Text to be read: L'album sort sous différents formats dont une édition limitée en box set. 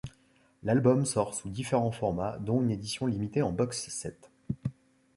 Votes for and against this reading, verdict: 2, 1, accepted